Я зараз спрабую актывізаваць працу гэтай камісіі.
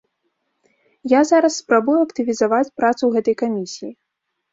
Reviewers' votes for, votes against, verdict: 2, 0, accepted